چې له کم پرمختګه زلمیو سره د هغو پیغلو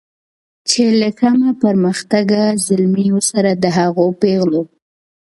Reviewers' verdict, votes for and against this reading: accepted, 2, 1